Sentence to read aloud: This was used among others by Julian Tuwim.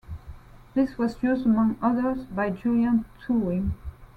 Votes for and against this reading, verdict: 2, 0, accepted